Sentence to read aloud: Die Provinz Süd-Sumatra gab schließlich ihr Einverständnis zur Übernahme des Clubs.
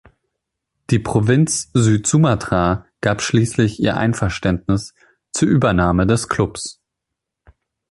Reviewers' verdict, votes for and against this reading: accepted, 2, 0